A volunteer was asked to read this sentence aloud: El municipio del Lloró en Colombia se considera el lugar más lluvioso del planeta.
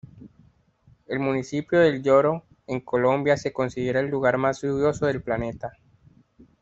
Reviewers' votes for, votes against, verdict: 2, 1, accepted